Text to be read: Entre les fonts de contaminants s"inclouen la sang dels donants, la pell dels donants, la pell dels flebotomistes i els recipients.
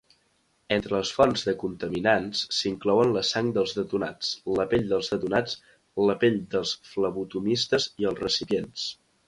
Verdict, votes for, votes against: rejected, 0, 2